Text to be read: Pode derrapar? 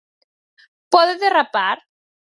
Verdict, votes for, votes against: accepted, 4, 0